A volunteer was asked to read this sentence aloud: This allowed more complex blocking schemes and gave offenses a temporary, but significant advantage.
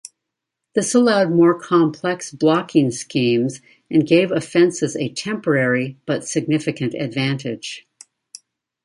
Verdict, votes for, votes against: rejected, 0, 2